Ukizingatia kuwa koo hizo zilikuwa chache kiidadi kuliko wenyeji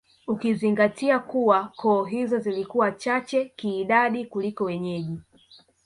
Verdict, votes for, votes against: rejected, 0, 2